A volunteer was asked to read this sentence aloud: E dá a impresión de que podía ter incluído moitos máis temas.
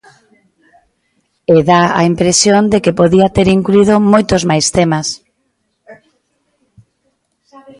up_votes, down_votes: 0, 2